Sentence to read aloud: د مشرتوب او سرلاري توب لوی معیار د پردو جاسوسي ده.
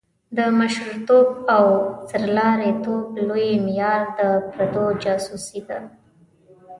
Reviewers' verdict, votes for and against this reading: rejected, 1, 2